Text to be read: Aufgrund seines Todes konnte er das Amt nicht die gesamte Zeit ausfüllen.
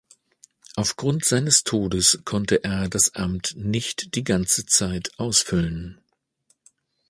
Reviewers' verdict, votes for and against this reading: rejected, 1, 2